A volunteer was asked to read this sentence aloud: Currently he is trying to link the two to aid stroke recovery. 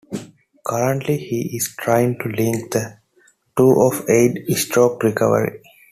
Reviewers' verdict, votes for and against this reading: rejected, 0, 2